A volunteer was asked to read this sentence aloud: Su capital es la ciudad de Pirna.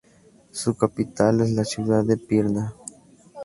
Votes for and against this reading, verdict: 2, 0, accepted